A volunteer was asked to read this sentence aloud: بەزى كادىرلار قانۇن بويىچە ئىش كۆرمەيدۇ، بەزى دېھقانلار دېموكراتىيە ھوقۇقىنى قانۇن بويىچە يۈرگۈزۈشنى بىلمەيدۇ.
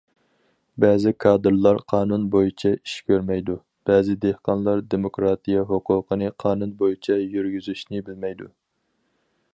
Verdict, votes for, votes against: accepted, 4, 0